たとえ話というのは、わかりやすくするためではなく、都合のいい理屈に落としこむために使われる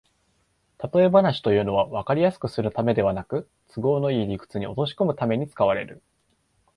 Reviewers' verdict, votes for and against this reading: accepted, 2, 0